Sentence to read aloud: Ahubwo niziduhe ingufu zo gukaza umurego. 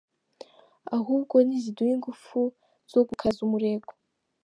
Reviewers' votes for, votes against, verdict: 2, 0, accepted